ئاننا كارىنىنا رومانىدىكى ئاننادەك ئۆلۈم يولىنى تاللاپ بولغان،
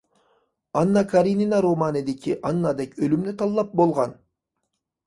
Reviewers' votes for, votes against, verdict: 1, 2, rejected